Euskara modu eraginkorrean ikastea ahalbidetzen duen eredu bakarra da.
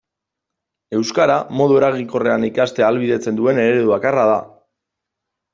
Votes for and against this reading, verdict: 2, 0, accepted